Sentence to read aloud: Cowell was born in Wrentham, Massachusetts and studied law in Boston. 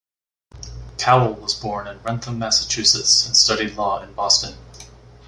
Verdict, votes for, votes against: accepted, 2, 0